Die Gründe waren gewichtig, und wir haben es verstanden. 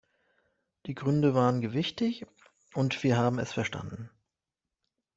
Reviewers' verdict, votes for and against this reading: accepted, 2, 0